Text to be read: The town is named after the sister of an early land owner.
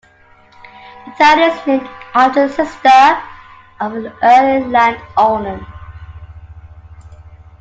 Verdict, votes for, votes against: rejected, 0, 2